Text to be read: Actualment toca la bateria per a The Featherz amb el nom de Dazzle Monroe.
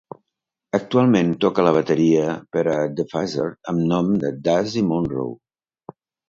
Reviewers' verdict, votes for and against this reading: rejected, 0, 2